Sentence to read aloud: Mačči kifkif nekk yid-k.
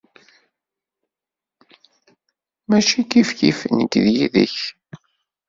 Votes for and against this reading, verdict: 2, 1, accepted